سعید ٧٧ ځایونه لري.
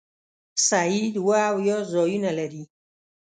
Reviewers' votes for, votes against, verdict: 0, 2, rejected